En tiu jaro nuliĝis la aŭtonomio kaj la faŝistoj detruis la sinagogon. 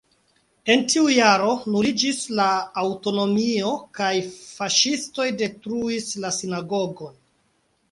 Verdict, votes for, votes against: rejected, 1, 4